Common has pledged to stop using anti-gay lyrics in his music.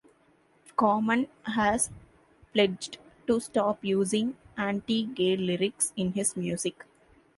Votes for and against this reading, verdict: 3, 0, accepted